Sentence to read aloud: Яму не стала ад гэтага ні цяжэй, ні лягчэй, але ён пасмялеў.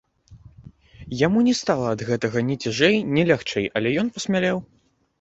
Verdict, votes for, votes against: rejected, 0, 2